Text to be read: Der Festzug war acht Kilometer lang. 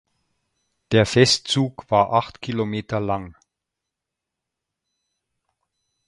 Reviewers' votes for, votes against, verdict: 2, 0, accepted